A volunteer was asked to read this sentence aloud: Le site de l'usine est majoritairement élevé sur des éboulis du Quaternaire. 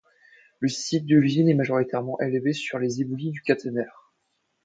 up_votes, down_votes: 0, 2